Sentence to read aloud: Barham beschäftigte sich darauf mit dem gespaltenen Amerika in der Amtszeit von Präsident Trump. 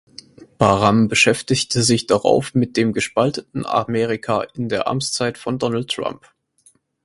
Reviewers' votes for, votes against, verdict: 2, 4, rejected